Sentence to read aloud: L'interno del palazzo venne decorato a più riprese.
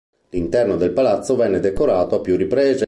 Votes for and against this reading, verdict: 1, 2, rejected